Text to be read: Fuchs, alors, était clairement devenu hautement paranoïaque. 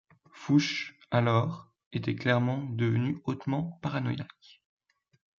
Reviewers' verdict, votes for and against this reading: accepted, 2, 1